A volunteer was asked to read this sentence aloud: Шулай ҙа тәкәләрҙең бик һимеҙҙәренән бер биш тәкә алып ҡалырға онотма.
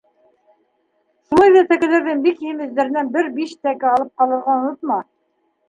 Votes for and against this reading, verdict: 1, 2, rejected